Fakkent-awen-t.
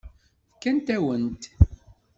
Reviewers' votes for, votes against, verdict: 1, 2, rejected